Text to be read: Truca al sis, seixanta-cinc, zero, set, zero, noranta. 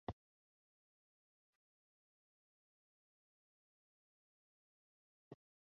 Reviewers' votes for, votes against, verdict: 0, 2, rejected